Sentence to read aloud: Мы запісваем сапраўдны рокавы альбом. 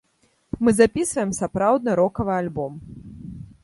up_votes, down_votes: 2, 0